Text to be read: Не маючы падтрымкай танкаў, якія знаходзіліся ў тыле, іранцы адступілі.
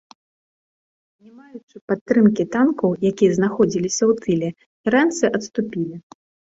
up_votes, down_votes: 0, 2